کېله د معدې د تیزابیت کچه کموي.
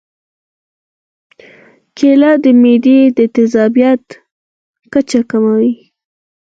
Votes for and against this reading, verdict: 4, 0, accepted